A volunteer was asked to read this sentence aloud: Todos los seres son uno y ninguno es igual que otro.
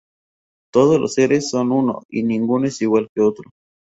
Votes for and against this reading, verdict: 2, 0, accepted